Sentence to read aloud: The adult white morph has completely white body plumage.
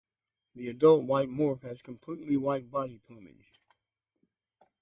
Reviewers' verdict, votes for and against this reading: accepted, 2, 0